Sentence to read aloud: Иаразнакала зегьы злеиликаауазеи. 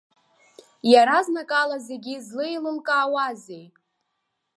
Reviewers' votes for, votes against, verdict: 2, 0, accepted